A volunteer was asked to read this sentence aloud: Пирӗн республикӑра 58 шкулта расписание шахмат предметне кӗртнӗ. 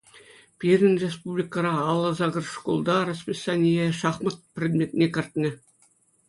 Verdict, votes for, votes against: rejected, 0, 2